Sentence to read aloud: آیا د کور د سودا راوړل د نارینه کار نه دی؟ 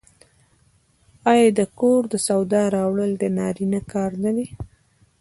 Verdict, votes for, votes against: rejected, 1, 2